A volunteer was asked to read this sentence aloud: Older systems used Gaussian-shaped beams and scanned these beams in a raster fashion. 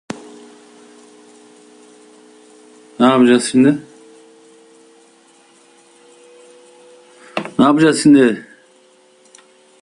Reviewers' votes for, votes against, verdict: 0, 2, rejected